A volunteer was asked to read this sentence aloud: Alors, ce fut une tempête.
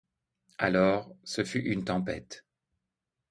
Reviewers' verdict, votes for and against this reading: accepted, 2, 0